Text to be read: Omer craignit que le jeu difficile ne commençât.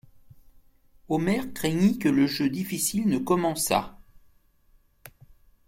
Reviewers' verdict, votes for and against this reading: accepted, 2, 0